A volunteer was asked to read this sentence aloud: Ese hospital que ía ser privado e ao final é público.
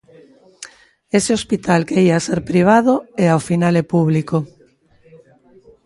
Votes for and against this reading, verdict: 1, 2, rejected